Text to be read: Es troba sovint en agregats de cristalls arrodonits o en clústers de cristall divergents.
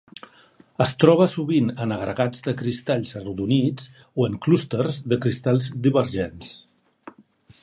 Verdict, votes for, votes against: accepted, 4, 0